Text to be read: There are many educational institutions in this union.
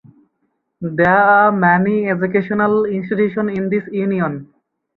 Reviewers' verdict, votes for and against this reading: accepted, 4, 2